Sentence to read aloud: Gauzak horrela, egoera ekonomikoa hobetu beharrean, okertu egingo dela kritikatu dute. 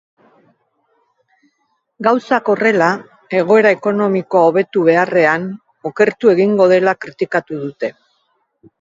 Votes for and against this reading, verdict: 2, 1, accepted